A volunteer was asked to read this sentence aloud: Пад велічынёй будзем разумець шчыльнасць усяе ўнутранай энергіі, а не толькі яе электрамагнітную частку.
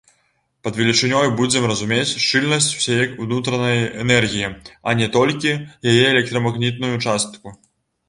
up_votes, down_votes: 2, 0